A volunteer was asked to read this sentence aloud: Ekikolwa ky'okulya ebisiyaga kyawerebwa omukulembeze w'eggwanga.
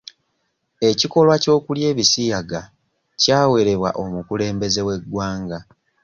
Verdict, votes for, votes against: accepted, 2, 0